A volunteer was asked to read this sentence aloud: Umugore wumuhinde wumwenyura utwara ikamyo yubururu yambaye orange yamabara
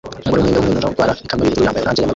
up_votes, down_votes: 0, 2